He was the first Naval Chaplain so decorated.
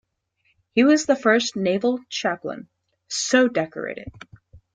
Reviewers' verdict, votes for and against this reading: accepted, 2, 0